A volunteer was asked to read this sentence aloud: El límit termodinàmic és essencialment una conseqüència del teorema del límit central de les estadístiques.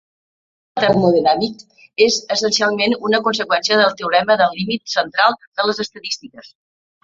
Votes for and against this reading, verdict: 0, 2, rejected